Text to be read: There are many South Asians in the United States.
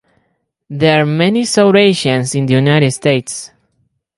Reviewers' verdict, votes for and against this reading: accepted, 4, 0